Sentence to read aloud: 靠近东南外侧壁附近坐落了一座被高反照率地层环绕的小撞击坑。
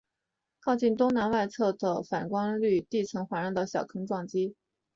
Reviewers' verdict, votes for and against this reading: accepted, 3, 2